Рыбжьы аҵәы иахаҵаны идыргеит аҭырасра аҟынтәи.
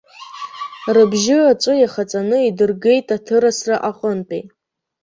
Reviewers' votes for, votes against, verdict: 0, 2, rejected